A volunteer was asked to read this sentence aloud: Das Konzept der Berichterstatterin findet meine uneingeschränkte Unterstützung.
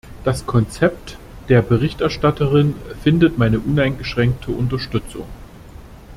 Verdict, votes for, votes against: accepted, 2, 0